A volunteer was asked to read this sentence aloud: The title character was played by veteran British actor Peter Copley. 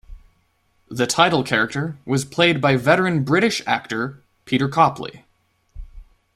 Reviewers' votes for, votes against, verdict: 2, 0, accepted